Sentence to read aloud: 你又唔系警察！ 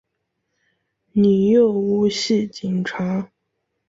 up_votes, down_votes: 2, 0